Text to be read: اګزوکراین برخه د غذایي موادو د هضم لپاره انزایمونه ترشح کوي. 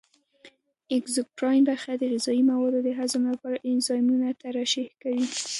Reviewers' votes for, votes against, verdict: 1, 2, rejected